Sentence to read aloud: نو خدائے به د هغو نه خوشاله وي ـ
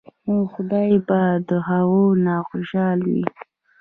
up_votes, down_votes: 1, 3